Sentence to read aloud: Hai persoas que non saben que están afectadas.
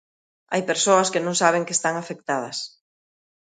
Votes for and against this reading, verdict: 2, 0, accepted